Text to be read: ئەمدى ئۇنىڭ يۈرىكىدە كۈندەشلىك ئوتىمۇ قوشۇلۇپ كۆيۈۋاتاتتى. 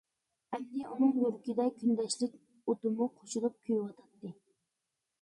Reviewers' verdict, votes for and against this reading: accepted, 2, 0